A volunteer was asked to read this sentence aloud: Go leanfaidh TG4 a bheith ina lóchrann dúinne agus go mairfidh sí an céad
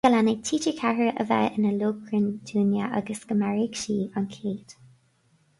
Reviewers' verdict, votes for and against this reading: rejected, 0, 2